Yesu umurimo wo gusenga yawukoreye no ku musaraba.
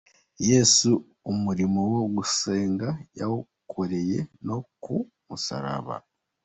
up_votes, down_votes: 2, 0